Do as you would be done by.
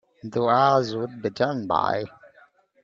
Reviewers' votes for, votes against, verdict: 1, 2, rejected